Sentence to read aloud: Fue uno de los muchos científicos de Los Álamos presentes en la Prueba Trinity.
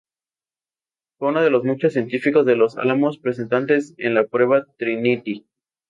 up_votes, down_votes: 0, 2